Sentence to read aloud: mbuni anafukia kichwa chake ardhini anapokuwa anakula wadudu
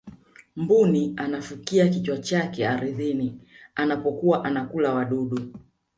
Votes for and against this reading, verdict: 2, 0, accepted